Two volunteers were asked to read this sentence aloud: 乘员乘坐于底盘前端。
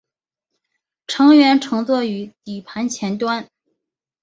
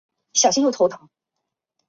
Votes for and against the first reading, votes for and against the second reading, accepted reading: 3, 1, 0, 2, first